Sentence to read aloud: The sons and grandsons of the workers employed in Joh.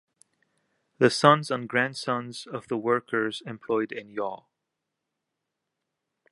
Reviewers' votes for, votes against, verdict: 2, 0, accepted